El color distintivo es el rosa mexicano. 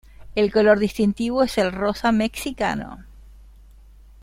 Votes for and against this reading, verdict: 0, 2, rejected